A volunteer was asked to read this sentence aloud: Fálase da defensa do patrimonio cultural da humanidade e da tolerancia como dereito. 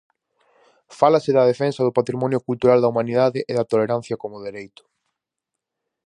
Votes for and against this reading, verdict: 4, 0, accepted